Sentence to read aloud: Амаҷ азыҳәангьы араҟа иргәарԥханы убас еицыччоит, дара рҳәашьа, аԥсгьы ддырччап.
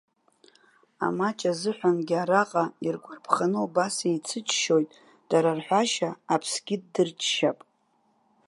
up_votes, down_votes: 0, 2